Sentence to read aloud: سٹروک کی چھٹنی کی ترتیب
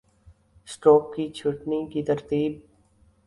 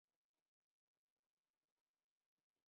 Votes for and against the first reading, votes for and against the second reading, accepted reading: 3, 0, 0, 3, first